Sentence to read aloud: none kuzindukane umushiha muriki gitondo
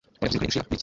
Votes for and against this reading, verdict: 1, 2, rejected